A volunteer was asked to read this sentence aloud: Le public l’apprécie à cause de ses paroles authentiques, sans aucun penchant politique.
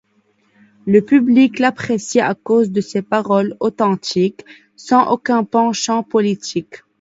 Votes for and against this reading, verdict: 1, 2, rejected